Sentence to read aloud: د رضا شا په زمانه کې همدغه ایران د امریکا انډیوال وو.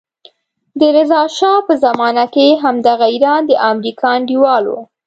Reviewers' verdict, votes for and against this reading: accepted, 2, 0